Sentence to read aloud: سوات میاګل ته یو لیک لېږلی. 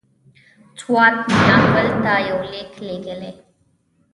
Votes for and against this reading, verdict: 1, 2, rejected